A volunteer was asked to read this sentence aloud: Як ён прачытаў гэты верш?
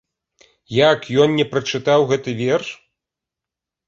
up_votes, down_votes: 0, 2